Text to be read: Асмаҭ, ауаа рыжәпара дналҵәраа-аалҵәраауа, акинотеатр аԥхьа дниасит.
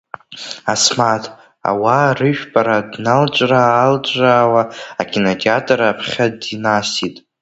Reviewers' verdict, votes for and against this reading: rejected, 1, 2